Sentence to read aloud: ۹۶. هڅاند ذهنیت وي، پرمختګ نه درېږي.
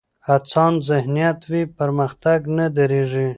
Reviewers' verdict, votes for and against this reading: rejected, 0, 2